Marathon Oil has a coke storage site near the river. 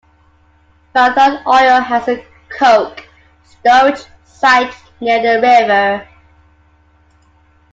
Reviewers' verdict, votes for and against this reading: accepted, 2, 1